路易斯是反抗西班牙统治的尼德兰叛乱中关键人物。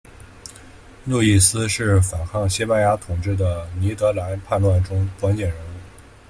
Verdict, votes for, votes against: rejected, 1, 2